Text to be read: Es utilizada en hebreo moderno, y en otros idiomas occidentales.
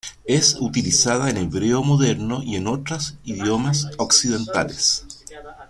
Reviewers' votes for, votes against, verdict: 1, 2, rejected